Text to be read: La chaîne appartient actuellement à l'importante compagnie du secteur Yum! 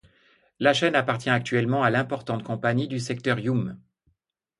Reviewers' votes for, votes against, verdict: 2, 0, accepted